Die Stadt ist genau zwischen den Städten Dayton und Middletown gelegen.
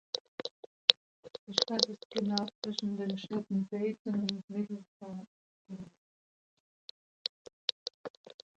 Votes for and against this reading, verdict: 0, 2, rejected